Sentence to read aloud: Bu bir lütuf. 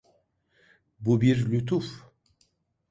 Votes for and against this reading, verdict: 2, 0, accepted